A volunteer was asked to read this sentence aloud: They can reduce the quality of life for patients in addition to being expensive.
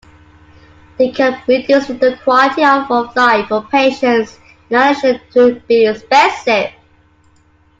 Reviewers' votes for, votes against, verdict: 1, 2, rejected